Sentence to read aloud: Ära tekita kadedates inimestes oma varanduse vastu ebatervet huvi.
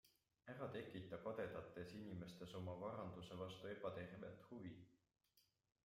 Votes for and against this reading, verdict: 2, 0, accepted